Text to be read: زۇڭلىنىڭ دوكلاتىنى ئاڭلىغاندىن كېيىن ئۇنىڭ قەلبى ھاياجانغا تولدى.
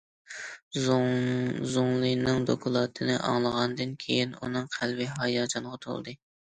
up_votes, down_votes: 0, 2